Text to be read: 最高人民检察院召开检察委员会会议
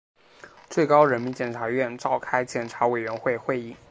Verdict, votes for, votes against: accepted, 4, 0